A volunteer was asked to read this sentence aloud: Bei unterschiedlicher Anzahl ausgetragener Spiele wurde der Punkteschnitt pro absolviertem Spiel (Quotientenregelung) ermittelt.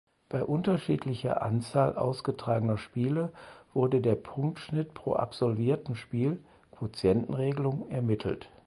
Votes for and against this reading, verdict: 2, 4, rejected